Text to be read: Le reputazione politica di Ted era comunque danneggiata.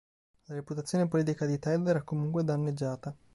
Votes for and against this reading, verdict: 5, 0, accepted